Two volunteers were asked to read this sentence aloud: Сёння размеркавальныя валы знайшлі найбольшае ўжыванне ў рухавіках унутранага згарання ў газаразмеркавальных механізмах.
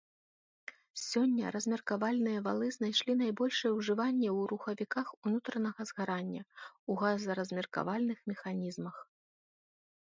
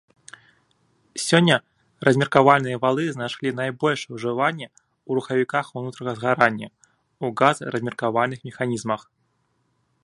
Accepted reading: first